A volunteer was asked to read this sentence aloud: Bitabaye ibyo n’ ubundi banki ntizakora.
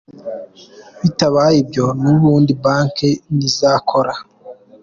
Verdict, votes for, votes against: accepted, 4, 0